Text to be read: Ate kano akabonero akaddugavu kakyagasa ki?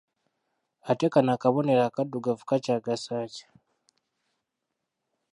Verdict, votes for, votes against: rejected, 0, 2